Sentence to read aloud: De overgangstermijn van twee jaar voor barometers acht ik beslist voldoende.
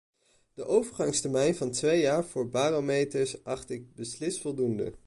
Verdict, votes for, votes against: accepted, 2, 0